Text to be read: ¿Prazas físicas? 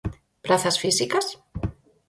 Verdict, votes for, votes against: accepted, 4, 0